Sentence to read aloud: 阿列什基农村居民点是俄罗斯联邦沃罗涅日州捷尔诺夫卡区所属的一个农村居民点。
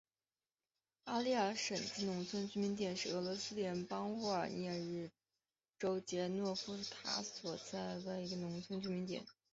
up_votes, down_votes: 0, 3